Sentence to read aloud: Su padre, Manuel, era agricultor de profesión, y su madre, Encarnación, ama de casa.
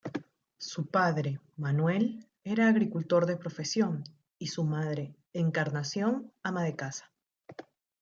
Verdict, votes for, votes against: rejected, 1, 2